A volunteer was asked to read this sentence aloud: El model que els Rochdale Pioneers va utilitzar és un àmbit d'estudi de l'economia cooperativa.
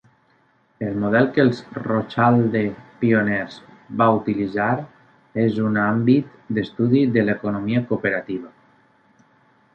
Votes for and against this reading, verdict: 0, 2, rejected